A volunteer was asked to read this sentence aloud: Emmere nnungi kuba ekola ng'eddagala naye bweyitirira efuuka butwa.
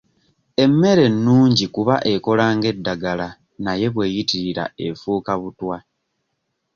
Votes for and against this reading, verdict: 2, 0, accepted